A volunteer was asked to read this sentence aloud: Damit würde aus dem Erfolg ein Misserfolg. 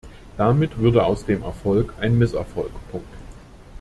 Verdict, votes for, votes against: rejected, 0, 2